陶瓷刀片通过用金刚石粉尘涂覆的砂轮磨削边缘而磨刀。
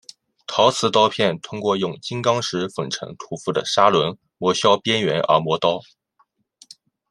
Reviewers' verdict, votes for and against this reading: accepted, 2, 0